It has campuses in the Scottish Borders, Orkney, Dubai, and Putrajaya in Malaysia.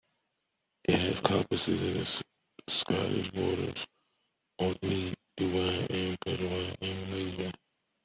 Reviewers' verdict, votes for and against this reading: rejected, 1, 2